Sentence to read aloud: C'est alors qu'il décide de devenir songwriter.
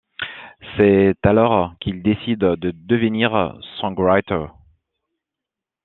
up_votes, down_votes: 2, 0